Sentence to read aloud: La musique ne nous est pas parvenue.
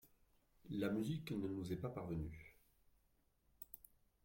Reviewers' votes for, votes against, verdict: 2, 1, accepted